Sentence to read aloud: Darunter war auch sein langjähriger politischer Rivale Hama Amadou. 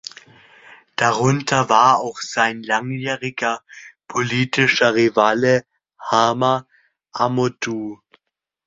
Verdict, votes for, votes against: rejected, 0, 2